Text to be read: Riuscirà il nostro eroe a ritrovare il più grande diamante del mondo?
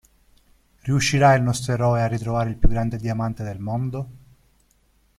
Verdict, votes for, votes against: rejected, 0, 2